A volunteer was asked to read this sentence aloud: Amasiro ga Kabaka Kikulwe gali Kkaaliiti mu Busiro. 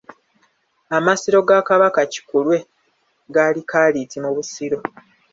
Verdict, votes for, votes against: accepted, 2, 0